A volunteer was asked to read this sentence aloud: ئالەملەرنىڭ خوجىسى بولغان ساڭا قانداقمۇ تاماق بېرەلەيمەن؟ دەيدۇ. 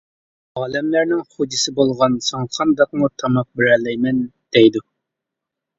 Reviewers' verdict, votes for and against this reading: accepted, 2, 0